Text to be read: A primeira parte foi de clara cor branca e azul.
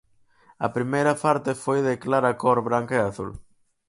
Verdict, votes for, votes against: accepted, 4, 0